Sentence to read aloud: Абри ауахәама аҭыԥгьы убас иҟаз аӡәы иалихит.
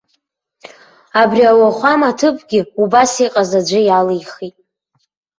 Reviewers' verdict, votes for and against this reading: accepted, 2, 0